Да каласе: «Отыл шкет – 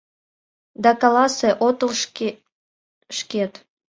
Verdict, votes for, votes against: rejected, 0, 2